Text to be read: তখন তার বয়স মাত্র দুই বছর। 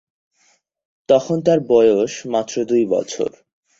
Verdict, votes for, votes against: accepted, 6, 0